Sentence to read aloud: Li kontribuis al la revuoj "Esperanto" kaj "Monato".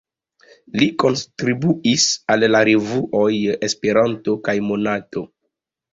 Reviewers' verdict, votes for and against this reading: accepted, 2, 1